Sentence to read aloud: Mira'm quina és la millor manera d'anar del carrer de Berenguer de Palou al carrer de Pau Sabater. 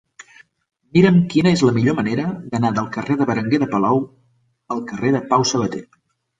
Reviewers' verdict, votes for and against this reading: accepted, 2, 0